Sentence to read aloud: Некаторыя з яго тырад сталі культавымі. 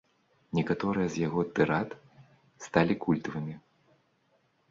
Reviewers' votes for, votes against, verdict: 2, 0, accepted